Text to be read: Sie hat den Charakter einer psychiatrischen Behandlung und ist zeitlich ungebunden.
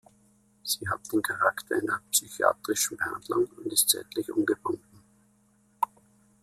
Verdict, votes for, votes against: rejected, 1, 2